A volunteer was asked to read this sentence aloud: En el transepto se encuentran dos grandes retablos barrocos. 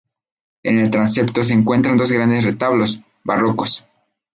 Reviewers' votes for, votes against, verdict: 0, 2, rejected